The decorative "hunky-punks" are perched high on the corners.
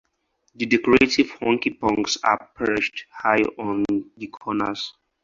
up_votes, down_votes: 4, 0